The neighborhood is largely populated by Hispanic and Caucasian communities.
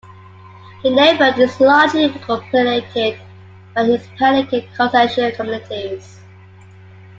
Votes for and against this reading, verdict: 1, 2, rejected